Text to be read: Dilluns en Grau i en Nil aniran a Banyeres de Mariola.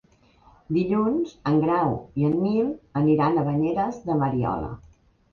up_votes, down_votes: 4, 0